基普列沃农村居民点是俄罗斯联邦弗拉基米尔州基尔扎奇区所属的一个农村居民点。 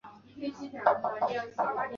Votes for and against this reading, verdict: 1, 3, rejected